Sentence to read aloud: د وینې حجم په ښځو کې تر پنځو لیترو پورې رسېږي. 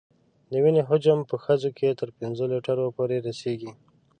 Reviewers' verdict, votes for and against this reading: accepted, 2, 0